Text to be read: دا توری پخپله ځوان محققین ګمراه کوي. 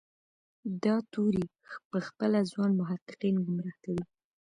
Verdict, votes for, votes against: accepted, 2, 0